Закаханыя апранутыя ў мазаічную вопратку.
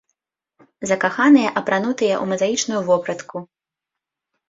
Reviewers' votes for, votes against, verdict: 2, 0, accepted